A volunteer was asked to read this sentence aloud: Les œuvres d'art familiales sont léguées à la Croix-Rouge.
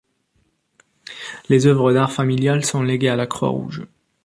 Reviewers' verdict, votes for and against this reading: accepted, 2, 0